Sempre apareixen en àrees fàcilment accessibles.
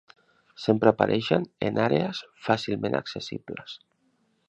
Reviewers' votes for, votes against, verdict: 3, 0, accepted